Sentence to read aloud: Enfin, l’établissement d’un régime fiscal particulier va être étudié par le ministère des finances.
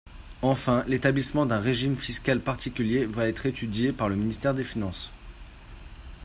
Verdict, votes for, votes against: accepted, 2, 0